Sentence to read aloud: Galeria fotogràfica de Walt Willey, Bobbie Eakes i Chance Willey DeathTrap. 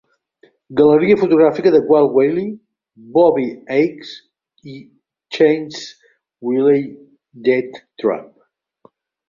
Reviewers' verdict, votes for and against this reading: rejected, 1, 3